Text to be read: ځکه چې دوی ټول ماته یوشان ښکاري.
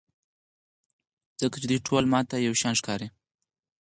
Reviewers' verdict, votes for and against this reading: rejected, 2, 4